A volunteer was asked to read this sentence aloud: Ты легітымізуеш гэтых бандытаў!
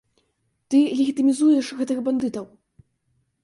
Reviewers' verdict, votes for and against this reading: rejected, 0, 2